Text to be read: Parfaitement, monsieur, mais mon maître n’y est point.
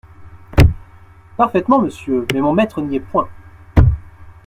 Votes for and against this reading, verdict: 2, 0, accepted